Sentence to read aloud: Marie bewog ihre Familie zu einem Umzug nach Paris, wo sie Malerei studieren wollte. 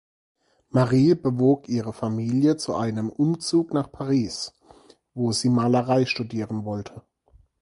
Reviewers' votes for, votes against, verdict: 4, 0, accepted